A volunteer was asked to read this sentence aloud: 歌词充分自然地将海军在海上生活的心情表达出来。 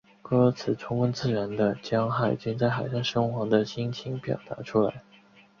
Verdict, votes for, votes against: accepted, 3, 1